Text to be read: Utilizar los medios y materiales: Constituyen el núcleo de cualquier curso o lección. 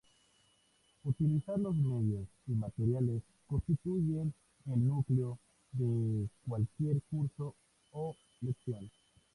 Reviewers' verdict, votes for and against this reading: rejected, 0, 2